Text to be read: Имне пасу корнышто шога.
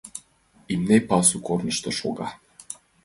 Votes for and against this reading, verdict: 2, 1, accepted